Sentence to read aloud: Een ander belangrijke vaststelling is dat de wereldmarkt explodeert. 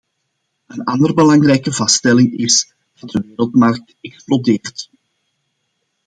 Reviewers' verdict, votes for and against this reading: accepted, 2, 0